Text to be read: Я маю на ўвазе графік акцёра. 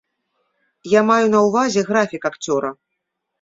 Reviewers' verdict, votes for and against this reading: accepted, 2, 0